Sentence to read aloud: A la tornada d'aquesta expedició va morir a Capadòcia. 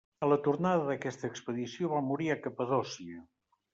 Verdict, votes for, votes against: rejected, 1, 3